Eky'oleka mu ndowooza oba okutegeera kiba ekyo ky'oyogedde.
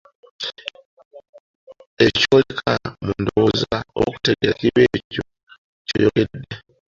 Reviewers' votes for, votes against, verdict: 0, 2, rejected